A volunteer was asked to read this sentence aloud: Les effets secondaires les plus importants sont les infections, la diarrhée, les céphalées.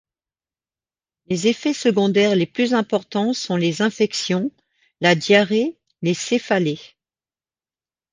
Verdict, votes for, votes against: accepted, 2, 0